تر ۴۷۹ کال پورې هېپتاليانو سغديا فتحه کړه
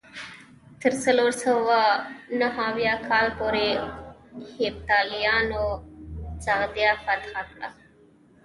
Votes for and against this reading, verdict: 0, 2, rejected